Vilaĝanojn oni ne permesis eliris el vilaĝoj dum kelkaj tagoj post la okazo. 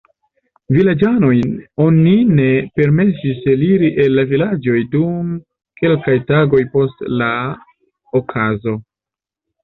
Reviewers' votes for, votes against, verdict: 1, 2, rejected